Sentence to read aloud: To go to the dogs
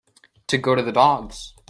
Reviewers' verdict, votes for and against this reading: accepted, 2, 0